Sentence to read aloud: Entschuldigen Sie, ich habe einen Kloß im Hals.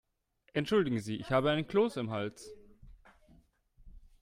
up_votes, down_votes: 2, 0